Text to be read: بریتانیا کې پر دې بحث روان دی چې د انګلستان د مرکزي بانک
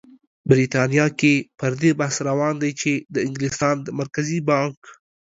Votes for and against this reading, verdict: 2, 0, accepted